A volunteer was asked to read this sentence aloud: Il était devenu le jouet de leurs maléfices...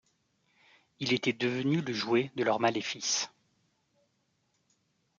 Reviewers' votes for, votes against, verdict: 2, 0, accepted